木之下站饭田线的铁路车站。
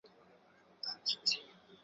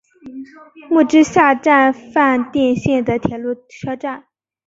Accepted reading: second